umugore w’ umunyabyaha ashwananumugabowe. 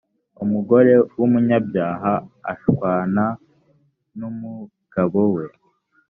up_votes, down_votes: 3, 0